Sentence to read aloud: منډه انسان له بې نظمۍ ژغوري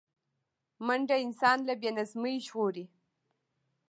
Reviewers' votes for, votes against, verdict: 2, 0, accepted